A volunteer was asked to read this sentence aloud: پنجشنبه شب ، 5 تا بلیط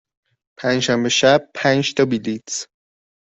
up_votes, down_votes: 0, 2